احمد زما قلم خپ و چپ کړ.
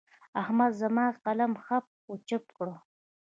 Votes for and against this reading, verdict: 1, 2, rejected